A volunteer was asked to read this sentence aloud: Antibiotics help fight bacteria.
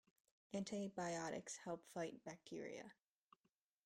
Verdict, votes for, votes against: rejected, 0, 2